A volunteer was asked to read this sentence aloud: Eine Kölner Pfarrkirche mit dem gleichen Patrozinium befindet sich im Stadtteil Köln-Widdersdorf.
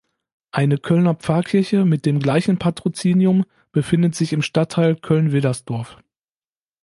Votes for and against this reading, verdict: 2, 0, accepted